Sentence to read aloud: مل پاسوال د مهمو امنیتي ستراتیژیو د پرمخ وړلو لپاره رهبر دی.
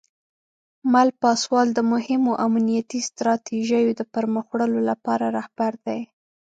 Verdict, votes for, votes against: accepted, 2, 0